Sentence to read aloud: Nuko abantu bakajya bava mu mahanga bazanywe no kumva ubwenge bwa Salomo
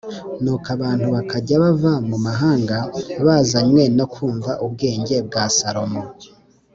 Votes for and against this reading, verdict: 3, 0, accepted